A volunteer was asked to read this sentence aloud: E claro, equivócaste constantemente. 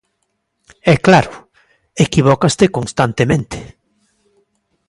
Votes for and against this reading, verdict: 2, 0, accepted